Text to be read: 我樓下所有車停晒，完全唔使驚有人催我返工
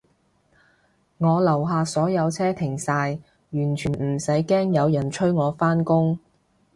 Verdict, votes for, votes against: accepted, 2, 0